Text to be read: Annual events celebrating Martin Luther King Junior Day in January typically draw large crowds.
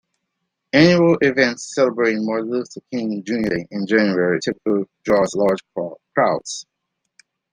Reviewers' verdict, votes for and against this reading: rejected, 1, 2